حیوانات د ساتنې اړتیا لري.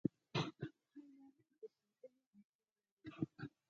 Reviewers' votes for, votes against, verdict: 2, 4, rejected